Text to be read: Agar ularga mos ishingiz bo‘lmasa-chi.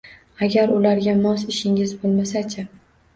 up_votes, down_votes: 2, 0